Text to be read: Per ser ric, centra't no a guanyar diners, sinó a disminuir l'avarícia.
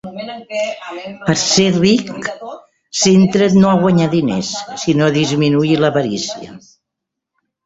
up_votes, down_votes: 0, 2